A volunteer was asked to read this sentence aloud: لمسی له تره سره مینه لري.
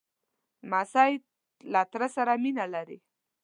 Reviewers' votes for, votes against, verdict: 2, 0, accepted